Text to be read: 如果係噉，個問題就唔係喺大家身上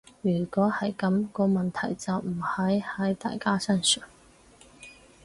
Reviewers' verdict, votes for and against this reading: rejected, 0, 4